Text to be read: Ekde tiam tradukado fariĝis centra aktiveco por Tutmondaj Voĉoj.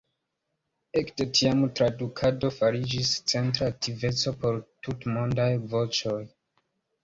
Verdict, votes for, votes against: accepted, 2, 0